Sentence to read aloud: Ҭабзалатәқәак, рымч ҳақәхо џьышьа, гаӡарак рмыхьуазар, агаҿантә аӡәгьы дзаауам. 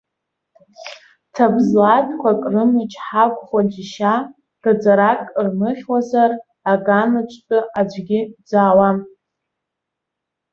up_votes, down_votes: 0, 2